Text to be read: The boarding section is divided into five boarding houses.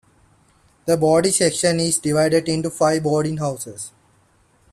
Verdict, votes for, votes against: accepted, 2, 0